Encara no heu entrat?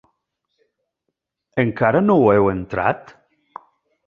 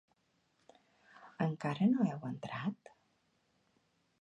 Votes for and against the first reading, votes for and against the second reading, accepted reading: 0, 2, 2, 0, second